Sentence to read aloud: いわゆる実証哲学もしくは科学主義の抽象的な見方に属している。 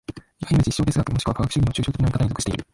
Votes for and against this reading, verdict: 0, 2, rejected